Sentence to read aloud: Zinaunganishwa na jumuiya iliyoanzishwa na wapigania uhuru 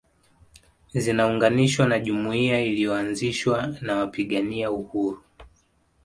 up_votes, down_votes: 2, 0